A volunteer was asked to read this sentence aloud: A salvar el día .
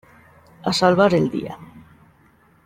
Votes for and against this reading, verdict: 2, 0, accepted